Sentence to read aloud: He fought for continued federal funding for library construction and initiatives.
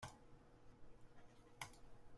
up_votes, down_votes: 0, 2